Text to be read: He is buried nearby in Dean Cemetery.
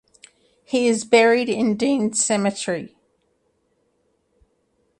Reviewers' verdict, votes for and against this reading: rejected, 0, 2